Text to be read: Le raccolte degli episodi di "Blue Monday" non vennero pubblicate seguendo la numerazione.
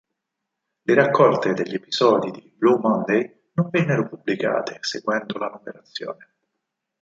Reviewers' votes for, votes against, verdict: 2, 4, rejected